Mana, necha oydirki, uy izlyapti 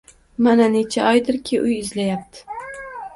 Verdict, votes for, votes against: rejected, 1, 2